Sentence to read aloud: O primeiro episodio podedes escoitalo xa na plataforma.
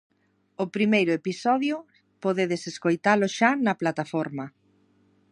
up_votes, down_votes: 2, 0